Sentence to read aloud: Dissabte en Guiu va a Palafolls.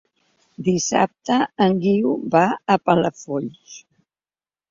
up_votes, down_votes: 3, 0